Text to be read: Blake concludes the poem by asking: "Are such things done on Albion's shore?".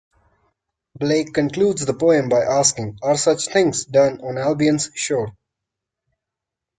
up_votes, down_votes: 1, 2